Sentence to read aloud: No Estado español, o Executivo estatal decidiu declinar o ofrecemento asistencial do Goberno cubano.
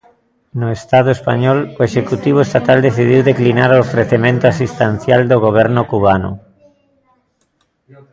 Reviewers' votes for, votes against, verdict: 2, 0, accepted